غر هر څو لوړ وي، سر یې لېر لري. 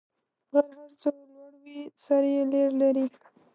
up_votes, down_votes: 0, 2